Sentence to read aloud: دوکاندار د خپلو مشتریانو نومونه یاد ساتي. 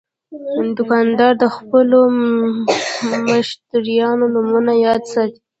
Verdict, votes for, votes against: rejected, 0, 2